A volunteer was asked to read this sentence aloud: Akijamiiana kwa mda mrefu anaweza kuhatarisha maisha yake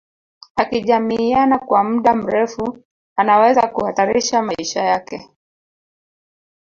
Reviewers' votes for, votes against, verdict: 2, 0, accepted